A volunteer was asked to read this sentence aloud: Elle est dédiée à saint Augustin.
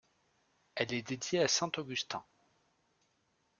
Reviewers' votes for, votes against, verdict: 2, 0, accepted